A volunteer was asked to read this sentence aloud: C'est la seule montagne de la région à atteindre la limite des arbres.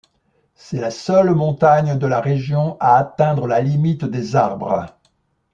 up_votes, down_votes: 2, 0